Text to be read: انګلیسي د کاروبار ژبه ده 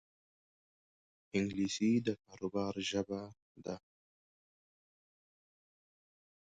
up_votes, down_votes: 3, 1